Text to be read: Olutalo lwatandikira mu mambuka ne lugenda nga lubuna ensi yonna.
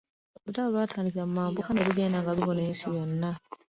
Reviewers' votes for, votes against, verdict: 2, 0, accepted